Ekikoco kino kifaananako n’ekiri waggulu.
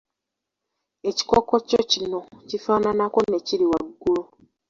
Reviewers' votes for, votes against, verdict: 1, 2, rejected